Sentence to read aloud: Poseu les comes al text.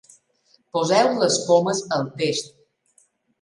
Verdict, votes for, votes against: rejected, 0, 2